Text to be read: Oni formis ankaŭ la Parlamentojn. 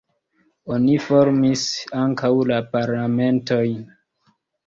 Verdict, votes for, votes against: rejected, 1, 2